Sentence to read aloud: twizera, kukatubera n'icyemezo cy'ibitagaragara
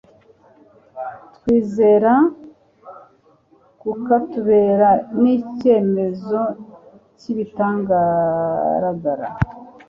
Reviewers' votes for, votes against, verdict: 0, 2, rejected